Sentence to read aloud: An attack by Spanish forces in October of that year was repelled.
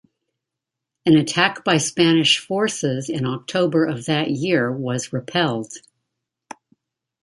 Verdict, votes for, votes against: accepted, 2, 0